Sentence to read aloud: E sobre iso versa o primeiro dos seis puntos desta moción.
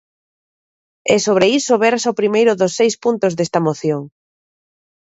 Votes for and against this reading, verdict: 3, 0, accepted